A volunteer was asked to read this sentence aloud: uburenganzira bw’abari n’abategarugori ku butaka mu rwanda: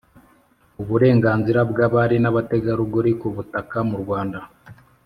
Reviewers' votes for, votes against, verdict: 2, 0, accepted